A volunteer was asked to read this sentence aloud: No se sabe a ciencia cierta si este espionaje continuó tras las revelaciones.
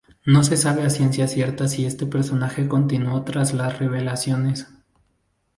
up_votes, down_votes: 0, 2